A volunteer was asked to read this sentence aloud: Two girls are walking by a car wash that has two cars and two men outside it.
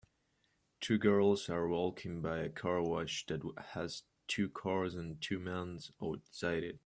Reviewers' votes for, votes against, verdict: 1, 2, rejected